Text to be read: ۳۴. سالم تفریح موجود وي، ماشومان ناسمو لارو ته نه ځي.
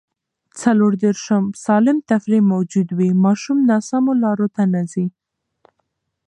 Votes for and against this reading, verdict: 0, 2, rejected